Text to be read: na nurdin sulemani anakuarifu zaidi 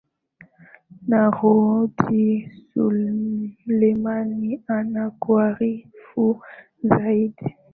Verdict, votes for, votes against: rejected, 0, 2